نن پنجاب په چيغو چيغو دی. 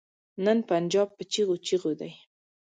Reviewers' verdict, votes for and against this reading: accepted, 2, 0